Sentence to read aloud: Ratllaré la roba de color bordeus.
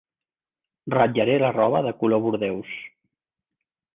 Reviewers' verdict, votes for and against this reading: accepted, 4, 0